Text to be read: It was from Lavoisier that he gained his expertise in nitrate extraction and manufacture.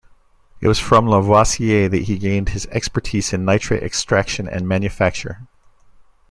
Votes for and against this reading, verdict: 1, 2, rejected